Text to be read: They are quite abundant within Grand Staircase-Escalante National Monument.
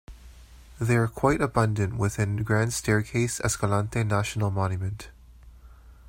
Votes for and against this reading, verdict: 1, 2, rejected